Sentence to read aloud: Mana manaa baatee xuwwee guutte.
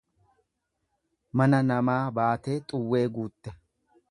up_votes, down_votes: 1, 2